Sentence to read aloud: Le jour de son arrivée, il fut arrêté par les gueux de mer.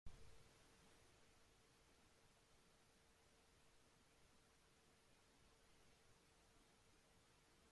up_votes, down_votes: 0, 2